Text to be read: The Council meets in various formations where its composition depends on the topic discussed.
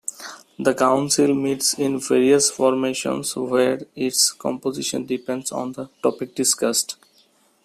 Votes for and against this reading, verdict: 2, 1, accepted